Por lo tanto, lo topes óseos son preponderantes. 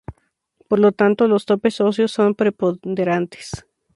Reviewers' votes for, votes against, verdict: 2, 2, rejected